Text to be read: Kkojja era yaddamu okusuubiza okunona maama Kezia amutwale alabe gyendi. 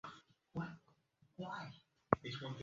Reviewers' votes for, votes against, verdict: 0, 2, rejected